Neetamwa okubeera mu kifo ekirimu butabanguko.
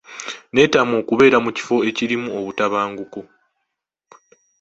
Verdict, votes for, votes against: accepted, 2, 0